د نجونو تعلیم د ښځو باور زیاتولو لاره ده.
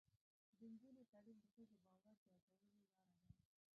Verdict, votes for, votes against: rejected, 0, 2